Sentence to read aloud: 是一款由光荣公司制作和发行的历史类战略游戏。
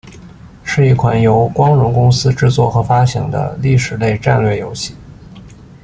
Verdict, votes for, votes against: accepted, 2, 0